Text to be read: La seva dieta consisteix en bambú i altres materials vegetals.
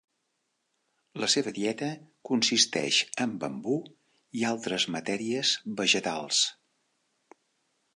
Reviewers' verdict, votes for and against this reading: rejected, 1, 2